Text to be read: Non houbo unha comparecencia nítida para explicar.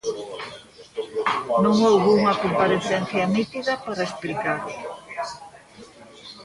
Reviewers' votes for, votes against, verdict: 2, 0, accepted